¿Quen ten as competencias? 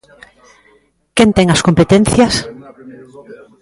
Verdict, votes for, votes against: accepted, 2, 0